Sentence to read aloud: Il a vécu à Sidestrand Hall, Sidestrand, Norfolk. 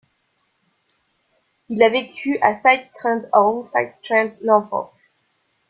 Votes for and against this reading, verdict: 0, 2, rejected